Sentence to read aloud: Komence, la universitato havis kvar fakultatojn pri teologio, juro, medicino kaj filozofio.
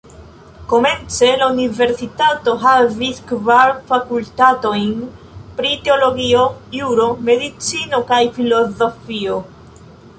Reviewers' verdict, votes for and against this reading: rejected, 1, 2